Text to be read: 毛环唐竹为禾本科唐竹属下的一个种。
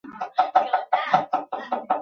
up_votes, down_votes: 2, 0